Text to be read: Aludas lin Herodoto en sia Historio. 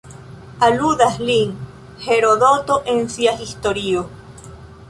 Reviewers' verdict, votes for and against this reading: accepted, 2, 1